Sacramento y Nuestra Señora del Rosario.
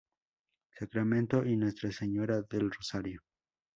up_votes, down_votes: 4, 0